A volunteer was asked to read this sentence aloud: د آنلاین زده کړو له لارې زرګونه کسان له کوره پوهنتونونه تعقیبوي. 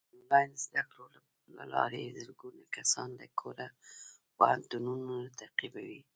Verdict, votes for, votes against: rejected, 0, 2